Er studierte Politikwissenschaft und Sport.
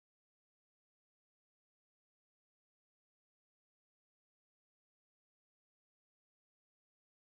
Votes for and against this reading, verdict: 0, 2, rejected